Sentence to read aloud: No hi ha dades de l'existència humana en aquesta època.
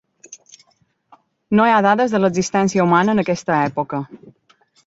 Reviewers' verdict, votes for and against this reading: accepted, 3, 0